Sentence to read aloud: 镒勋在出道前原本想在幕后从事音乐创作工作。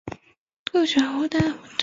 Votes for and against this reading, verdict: 1, 3, rejected